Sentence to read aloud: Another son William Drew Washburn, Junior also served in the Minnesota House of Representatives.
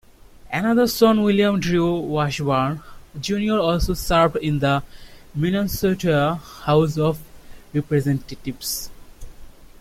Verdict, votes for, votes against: accepted, 3, 2